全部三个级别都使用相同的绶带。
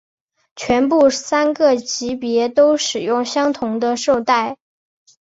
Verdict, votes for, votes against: accepted, 3, 1